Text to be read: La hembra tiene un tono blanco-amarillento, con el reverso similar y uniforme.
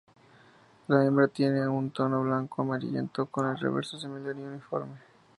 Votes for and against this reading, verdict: 2, 0, accepted